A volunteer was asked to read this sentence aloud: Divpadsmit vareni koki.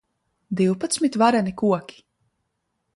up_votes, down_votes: 2, 0